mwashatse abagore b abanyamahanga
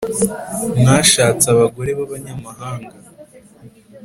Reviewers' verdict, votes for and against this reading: accepted, 4, 0